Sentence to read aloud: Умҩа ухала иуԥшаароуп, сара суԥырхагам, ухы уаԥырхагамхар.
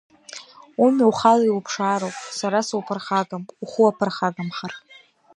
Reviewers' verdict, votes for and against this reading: accepted, 2, 0